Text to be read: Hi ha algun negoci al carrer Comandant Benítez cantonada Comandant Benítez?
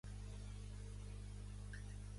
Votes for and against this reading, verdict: 0, 2, rejected